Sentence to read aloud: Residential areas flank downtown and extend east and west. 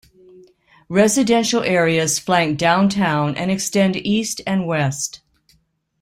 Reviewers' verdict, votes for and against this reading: accepted, 2, 0